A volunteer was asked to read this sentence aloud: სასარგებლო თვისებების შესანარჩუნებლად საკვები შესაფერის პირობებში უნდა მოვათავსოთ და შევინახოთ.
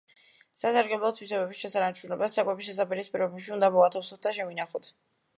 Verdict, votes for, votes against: rejected, 1, 2